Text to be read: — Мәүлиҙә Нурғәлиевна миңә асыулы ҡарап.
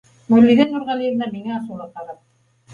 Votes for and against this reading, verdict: 2, 0, accepted